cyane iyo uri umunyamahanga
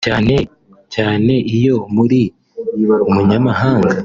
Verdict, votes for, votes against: rejected, 1, 2